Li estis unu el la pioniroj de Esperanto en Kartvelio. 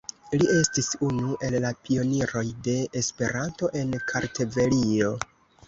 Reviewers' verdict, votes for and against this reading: rejected, 1, 2